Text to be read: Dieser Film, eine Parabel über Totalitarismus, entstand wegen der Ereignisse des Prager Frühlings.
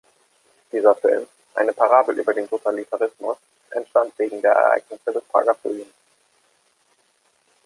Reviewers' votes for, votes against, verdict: 1, 2, rejected